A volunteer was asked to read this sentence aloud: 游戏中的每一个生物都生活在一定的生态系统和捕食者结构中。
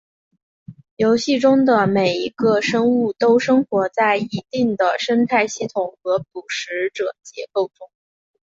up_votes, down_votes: 2, 1